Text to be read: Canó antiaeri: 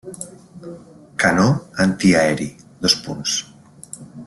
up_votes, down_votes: 0, 2